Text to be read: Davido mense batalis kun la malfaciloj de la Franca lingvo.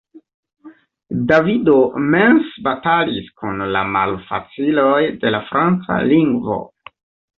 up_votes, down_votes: 2, 0